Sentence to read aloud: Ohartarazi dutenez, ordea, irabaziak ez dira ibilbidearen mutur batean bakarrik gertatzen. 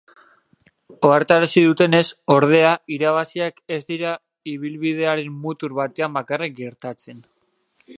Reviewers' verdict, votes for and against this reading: accepted, 2, 0